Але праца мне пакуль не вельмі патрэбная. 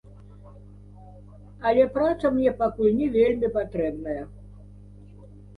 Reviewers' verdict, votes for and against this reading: accepted, 2, 0